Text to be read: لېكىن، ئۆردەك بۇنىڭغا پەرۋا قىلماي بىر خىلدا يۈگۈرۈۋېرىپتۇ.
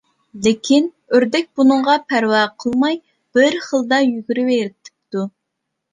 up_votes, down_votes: 0, 2